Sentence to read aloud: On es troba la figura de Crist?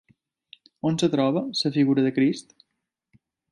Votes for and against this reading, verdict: 3, 2, accepted